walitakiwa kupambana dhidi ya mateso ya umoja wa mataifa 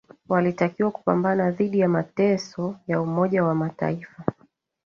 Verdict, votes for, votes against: rejected, 1, 2